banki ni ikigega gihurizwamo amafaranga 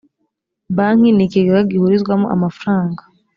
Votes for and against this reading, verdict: 2, 1, accepted